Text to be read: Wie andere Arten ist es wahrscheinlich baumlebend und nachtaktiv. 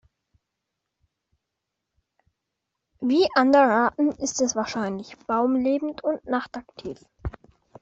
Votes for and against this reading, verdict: 2, 0, accepted